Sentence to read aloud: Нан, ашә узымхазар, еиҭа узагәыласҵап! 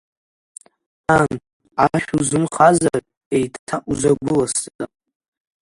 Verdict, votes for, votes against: rejected, 0, 2